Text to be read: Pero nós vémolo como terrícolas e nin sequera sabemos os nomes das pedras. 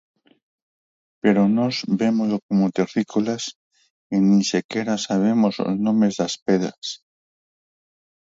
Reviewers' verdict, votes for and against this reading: accepted, 4, 0